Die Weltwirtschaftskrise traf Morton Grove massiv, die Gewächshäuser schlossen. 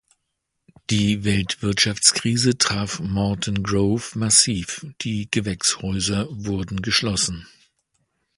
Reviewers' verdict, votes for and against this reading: rejected, 0, 2